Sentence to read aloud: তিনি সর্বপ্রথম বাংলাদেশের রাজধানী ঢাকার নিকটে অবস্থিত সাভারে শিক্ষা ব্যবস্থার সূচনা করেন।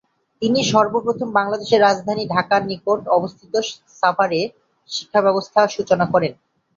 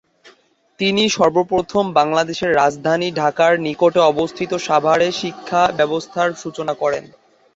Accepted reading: second